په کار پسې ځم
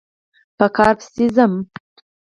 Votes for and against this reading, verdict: 2, 4, rejected